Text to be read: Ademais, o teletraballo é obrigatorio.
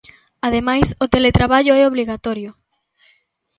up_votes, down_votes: 0, 2